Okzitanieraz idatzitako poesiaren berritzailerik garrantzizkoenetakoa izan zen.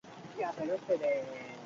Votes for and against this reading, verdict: 0, 4, rejected